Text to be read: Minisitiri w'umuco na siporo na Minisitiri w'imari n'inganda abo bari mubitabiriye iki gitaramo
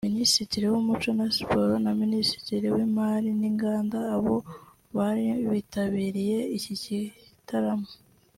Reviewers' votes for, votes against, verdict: 2, 0, accepted